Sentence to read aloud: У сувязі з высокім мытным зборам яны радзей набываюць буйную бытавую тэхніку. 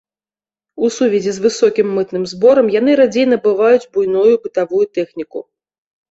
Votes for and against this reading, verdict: 2, 0, accepted